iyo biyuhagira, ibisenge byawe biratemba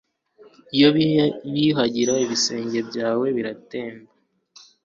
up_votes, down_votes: 0, 2